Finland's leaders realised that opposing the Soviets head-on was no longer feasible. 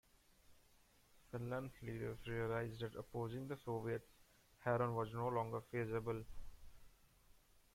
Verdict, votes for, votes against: rejected, 1, 2